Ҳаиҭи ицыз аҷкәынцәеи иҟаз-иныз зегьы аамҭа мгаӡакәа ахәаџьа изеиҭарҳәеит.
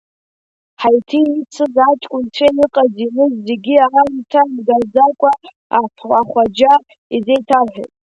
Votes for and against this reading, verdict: 0, 3, rejected